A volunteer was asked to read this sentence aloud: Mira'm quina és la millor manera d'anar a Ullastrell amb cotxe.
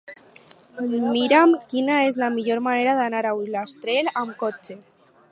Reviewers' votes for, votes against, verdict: 2, 2, rejected